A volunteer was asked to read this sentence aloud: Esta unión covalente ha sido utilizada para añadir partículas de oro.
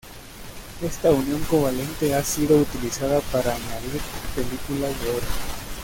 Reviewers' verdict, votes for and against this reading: rejected, 0, 2